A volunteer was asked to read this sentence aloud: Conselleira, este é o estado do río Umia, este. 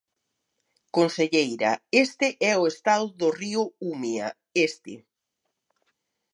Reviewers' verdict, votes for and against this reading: rejected, 0, 2